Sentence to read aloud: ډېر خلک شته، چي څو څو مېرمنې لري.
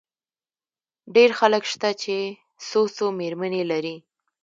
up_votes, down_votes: 2, 0